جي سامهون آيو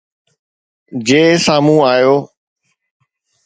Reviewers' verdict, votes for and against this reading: accepted, 2, 0